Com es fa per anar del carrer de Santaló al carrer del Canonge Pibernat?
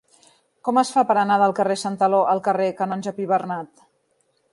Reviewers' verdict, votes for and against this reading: accepted, 3, 0